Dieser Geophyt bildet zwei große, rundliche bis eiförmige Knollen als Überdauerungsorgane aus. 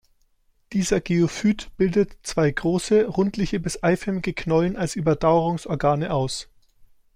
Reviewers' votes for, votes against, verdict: 2, 0, accepted